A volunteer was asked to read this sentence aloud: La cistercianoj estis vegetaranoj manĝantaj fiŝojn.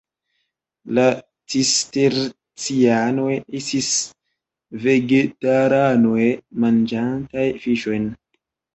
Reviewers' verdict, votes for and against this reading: rejected, 0, 2